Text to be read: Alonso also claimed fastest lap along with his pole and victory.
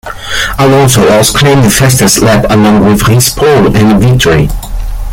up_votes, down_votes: 2, 1